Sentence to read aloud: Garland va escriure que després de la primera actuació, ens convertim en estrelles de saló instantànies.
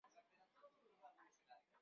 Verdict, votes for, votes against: rejected, 0, 3